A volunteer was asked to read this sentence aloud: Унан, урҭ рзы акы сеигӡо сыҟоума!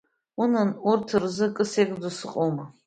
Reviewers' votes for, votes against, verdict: 2, 0, accepted